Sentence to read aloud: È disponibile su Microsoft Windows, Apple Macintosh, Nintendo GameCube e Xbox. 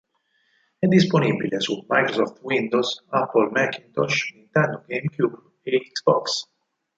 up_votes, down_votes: 2, 4